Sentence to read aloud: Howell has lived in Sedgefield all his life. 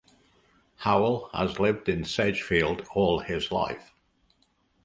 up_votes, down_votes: 2, 0